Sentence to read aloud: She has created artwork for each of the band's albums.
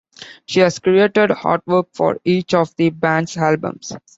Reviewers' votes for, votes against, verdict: 2, 1, accepted